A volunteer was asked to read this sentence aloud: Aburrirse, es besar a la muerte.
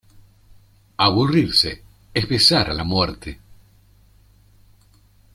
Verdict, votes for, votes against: accepted, 2, 0